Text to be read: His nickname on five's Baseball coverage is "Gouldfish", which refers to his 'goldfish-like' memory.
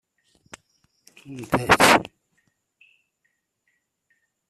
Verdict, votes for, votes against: rejected, 0, 2